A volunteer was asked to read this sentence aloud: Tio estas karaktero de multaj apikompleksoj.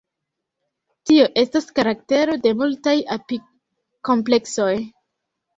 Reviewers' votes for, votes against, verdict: 2, 0, accepted